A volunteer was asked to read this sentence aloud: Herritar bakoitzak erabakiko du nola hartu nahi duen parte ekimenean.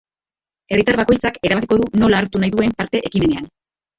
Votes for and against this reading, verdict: 2, 0, accepted